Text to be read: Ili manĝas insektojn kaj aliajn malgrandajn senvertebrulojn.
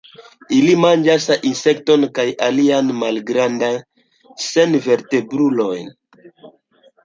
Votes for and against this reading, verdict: 2, 3, rejected